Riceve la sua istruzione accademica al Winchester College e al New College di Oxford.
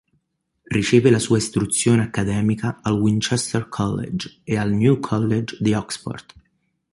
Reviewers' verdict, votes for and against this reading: accepted, 2, 0